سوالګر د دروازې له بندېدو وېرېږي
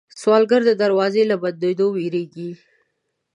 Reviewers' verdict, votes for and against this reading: accepted, 2, 0